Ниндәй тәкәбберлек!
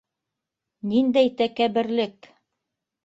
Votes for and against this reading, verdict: 2, 0, accepted